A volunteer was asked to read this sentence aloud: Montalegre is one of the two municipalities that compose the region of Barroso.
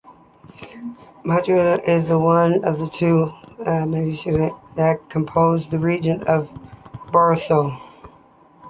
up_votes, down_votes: 2, 0